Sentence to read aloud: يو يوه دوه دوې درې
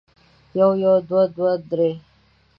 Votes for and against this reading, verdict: 2, 0, accepted